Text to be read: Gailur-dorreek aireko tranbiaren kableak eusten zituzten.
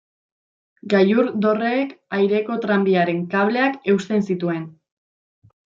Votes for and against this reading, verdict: 1, 2, rejected